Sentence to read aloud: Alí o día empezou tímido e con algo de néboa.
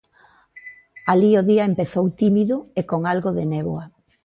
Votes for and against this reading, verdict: 2, 0, accepted